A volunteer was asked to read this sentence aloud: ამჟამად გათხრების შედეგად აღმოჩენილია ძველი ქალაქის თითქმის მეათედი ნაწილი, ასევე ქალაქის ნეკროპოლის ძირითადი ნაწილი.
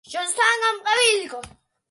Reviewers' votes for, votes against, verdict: 0, 2, rejected